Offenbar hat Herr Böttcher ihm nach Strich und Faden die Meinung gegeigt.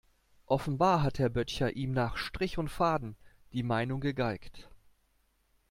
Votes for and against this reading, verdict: 2, 0, accepted